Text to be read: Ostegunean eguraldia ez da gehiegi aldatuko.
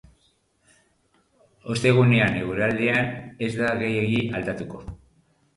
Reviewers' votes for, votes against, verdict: 2, 2, rejected